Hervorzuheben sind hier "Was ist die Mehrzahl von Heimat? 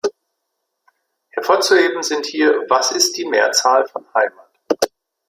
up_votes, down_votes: 0, 2